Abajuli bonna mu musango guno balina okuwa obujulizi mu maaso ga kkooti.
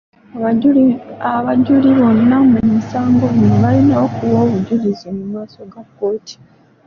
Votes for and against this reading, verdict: 0, 2, rejected